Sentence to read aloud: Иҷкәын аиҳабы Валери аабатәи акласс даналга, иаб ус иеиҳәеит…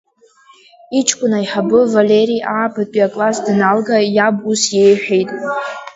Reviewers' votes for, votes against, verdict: 1, 2, rejected